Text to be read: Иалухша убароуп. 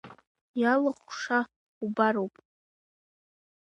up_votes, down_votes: 1, 2